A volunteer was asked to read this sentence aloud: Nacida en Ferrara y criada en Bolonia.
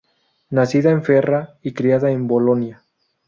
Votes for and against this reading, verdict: 0, 4, rejected